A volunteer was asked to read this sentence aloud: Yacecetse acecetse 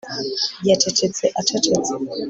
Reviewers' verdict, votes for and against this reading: accepted, 3, 0